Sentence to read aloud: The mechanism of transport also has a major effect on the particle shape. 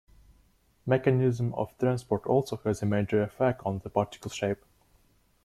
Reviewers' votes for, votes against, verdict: 0, 2, rejected